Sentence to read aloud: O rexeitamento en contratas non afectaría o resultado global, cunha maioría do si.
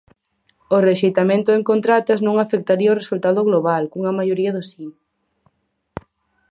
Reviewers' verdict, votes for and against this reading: accepted, 4, 0